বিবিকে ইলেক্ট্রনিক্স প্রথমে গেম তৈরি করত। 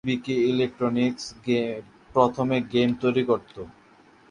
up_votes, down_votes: 0, 2